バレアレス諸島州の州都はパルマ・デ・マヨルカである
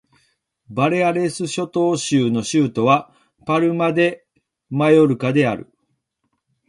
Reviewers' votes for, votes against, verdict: 1, 2, rejected